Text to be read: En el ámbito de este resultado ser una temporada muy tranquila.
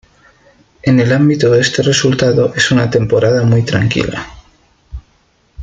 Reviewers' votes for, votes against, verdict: 2, 1, accepted